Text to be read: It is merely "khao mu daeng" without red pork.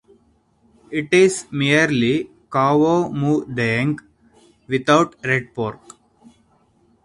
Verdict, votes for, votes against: accepted, 4, 0